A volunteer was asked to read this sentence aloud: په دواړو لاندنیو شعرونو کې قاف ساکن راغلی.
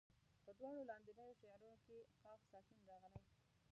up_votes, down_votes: 0, 2